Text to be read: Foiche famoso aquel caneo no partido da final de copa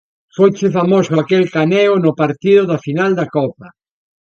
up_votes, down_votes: 1, 2